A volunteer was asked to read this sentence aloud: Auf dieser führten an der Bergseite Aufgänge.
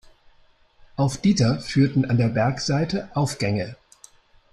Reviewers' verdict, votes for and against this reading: accepted, 2, 1